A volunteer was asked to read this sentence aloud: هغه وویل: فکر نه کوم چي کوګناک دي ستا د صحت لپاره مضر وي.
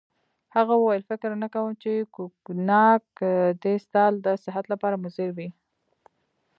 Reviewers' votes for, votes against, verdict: 2, 0, accepted